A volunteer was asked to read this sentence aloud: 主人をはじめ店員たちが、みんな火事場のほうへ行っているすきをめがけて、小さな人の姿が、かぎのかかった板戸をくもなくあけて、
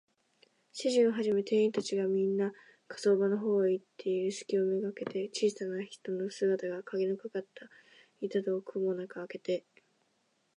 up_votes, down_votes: 0, 3